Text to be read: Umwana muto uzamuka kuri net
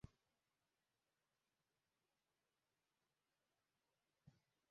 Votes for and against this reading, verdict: 0, 2, rejected